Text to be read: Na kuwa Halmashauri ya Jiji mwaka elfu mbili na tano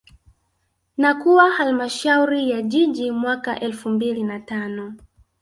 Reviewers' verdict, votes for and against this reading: accepted, 2, 1